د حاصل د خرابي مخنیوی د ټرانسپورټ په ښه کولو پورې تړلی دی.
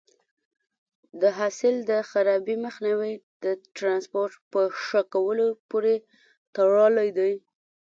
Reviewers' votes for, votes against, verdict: 1, 2, rejected